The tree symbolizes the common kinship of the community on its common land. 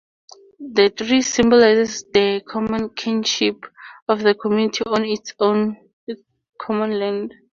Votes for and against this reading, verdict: 0, 2, rejected